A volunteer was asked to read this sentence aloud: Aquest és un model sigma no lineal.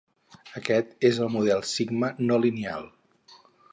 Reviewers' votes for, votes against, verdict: 2, 2, rejected